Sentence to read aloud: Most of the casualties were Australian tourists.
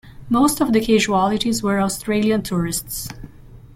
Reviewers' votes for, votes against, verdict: 0, 2, rejected